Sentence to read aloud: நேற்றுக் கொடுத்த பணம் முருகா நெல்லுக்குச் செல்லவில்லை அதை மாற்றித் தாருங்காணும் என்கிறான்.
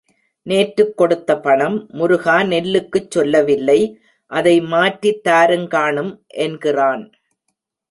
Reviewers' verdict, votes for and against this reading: rejected, 1, 2